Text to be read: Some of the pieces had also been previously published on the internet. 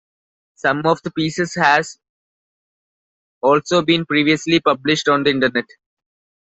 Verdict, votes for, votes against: rejected, 0, 2